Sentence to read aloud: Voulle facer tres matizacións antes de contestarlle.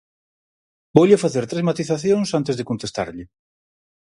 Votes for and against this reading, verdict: 4, 0, accepted